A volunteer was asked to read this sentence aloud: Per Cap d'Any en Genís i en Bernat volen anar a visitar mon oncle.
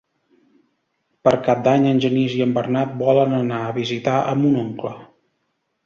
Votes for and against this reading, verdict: 1, 2, rejected